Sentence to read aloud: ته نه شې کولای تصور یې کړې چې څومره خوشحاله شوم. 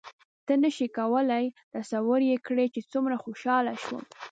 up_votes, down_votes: 2, 0